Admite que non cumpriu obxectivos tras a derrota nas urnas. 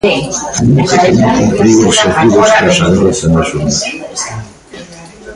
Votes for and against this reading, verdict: 0, 2, rejected